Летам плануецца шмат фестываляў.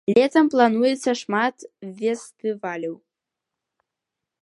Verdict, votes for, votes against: rejected, 0, 2